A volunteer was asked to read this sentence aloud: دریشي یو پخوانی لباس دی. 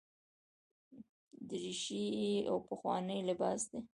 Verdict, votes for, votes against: rejected, 1, 2